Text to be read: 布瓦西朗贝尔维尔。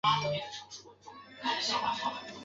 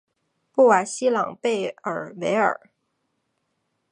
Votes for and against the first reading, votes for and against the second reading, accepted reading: 1, 3, 2, 0, second